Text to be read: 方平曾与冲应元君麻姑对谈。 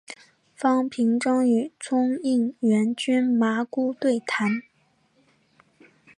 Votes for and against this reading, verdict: 4, 0, accepted